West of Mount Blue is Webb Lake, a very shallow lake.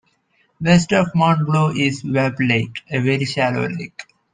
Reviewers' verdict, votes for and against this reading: accepted, 2, 0